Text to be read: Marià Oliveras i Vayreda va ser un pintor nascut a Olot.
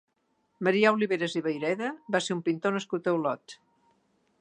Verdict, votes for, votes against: accepted, 2, 0